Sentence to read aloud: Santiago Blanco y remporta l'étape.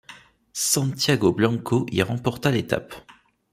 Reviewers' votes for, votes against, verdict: 2, 0, accepted